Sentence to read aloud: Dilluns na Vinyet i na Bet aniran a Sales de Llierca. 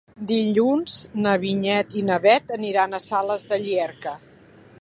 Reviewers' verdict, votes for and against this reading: accepted, 3, 1